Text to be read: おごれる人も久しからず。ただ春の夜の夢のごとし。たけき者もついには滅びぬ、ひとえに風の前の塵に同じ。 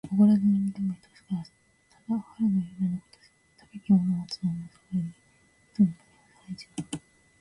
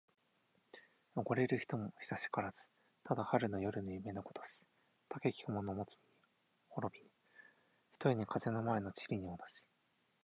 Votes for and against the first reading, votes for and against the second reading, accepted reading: 0, 2, 4, 0, second